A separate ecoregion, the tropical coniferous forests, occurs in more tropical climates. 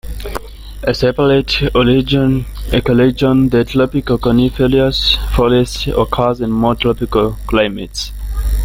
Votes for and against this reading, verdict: 0, 2, rejected